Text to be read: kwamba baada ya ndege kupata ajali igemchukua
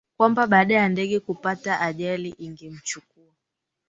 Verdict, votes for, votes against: rejected, 1, 2